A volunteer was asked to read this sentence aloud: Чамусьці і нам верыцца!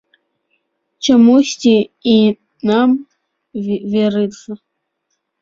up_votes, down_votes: 1, 2